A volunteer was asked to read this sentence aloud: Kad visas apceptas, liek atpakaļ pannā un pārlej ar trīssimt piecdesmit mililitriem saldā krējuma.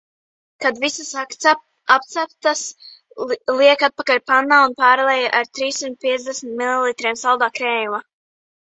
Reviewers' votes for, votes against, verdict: 0, 2, rejected